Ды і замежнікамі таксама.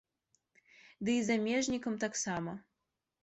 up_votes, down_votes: 1, 2